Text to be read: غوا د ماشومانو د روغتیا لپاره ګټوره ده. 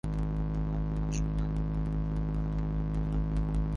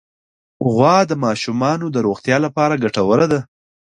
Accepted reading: second